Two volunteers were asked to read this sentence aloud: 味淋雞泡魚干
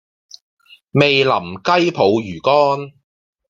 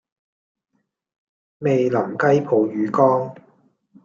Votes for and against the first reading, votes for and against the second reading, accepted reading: 2, 0, 1, 2, first